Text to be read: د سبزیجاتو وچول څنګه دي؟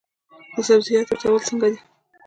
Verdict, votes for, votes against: accepted, 2, 0